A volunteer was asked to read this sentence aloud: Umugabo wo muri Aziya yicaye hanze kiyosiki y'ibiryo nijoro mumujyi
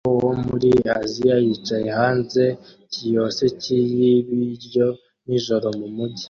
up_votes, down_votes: 1, 2